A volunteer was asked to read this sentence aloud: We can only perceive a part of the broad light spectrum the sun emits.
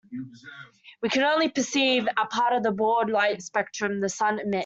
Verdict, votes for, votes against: rejected, 0, 2